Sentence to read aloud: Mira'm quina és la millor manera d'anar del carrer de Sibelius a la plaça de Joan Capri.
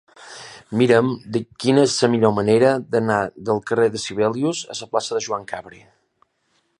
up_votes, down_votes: 2, 1